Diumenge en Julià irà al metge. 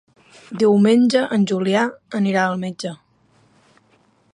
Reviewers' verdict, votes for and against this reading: rejected, 0, 2